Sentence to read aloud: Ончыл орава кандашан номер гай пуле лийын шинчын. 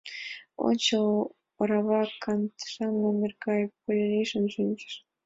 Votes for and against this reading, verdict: 0, 2, rejected